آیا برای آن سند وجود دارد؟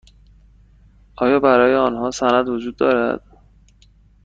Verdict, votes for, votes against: rejected, 1, 2